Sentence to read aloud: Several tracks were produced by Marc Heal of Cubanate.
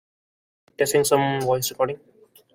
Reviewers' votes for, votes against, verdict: 0, 2, rejected